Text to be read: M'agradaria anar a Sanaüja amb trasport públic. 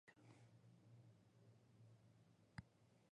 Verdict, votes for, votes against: rejected, 0, 2